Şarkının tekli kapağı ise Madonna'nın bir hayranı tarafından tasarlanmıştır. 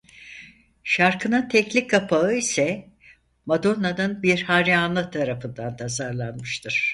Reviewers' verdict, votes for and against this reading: rejected, 0, 4